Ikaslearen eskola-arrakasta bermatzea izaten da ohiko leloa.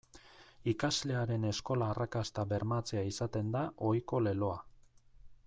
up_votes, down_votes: 2, 0